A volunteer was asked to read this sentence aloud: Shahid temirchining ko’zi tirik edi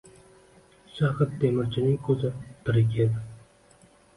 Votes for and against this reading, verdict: 2, 0, accepted